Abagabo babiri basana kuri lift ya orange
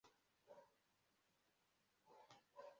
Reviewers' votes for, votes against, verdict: 0, 2, rejected